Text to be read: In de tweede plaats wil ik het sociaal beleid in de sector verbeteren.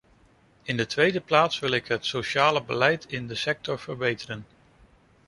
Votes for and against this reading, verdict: 0, 2, rejected